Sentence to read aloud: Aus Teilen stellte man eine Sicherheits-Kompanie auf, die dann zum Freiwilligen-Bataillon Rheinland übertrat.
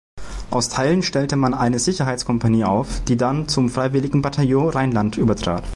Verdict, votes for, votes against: accepted, 2, 0